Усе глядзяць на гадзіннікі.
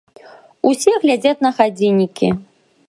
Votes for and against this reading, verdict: 1, 2, rejected